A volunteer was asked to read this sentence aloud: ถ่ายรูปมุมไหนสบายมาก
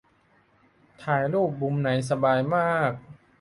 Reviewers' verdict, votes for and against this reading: accepted, 2, 0